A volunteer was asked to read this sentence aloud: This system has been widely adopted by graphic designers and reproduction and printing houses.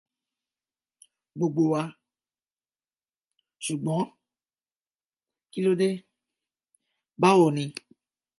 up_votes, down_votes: 0, 2